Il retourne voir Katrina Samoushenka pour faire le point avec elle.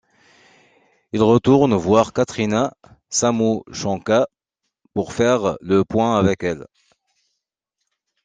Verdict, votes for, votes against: accepted, 2, 0